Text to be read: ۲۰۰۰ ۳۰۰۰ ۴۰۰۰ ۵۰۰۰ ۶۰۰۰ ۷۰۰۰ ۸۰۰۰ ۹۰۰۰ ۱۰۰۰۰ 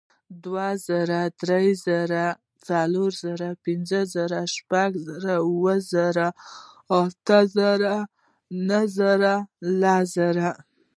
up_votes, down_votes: 0, 2